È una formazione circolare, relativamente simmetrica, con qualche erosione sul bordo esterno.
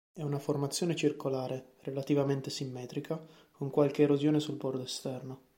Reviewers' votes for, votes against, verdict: 2, 0, accepted